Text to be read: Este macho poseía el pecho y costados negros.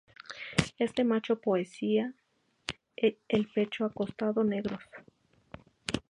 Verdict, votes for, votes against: accepted, 2, 0